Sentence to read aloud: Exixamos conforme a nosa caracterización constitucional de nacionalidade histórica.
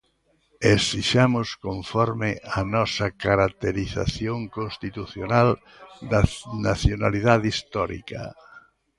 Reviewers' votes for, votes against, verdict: 0, 3, rejected